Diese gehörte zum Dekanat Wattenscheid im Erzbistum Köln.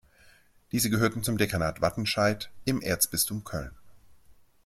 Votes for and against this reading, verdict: 2, 0, accepted